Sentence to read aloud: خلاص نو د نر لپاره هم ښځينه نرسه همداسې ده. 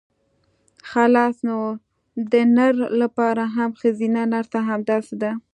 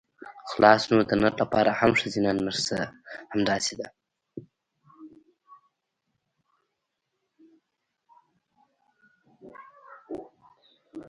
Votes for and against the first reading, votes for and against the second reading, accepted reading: 2, 1, 0, 2, first